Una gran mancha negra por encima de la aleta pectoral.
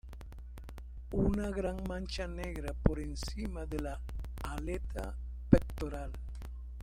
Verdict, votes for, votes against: accepted, 2, 0